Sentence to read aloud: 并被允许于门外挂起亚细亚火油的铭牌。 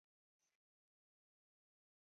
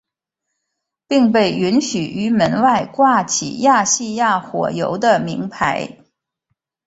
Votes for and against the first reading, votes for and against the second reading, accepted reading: 0, 2, 4, 0, second